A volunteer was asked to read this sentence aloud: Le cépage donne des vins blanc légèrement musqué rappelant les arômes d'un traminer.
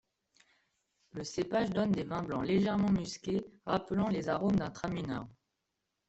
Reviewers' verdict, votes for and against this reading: rejected, 0, 2